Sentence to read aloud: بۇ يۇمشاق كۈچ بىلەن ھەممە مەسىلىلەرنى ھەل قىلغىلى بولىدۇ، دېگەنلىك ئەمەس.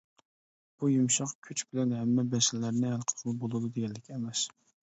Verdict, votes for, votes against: accepted, 2, 1